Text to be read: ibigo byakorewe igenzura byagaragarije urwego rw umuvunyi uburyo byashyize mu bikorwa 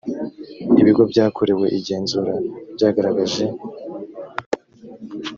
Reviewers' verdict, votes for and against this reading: rejected, 0, 3